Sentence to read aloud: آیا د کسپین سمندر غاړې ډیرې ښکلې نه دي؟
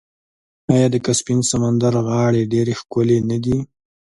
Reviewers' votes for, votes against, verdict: 2, 0, accepted